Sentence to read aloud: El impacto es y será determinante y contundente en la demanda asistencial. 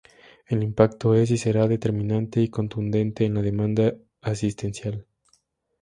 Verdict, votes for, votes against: accepted, 2, 0